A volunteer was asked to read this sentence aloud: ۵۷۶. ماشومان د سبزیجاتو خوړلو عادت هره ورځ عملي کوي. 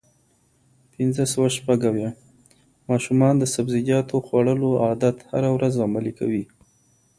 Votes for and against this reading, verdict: 0, 2, rejected